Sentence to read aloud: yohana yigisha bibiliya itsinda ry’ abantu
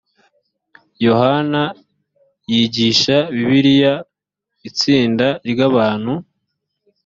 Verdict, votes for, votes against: accepted, 2, 0